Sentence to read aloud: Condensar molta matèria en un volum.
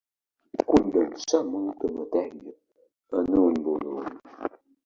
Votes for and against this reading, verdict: 2, 1, accepted